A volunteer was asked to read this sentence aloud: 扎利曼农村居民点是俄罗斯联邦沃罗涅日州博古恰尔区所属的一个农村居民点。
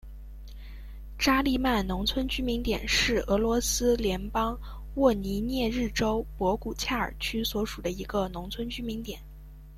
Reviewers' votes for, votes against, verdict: 2, 0, accepted